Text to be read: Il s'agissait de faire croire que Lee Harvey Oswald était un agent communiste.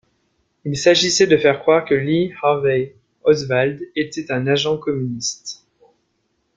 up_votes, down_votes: 1, 2